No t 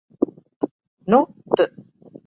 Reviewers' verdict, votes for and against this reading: rejected, 0, 4